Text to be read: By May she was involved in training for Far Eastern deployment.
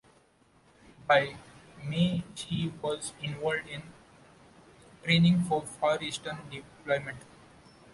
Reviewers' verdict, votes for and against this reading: rejected, 1, 2